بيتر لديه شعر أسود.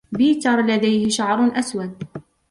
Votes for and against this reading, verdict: 2, 0, accepted